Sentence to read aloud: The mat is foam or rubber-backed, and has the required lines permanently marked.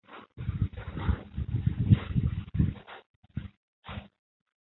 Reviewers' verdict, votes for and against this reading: rejected, 0, 2